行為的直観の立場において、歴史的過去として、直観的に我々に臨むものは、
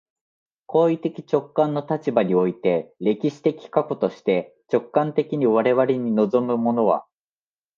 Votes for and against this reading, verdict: 2, 0, accepted